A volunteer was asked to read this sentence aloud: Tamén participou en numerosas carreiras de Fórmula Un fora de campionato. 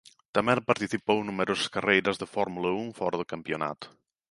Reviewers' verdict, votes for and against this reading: rejected, 1, 2